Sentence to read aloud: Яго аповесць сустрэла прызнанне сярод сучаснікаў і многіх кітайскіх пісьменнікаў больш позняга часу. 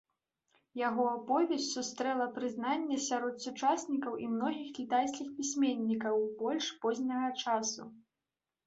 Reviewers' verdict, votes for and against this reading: accepted, 2, 0